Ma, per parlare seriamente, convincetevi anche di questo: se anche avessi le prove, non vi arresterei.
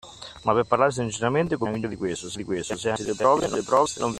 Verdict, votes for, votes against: rejected, 0, 2